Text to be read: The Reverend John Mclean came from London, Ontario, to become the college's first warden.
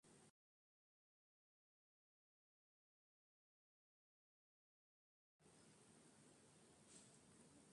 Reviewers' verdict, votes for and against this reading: rejected, 0, 2